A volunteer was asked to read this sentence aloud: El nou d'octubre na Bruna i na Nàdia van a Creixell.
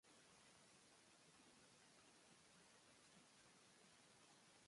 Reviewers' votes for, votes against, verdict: 0, 2, rejected